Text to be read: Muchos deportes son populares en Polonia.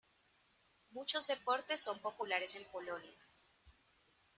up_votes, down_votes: 2, 0